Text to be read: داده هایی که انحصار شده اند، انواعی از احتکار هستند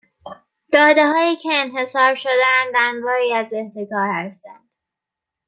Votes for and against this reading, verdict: 3, 0, accepted